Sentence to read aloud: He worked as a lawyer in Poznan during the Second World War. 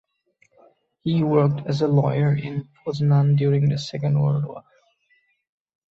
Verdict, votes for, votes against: accepted, 2, 0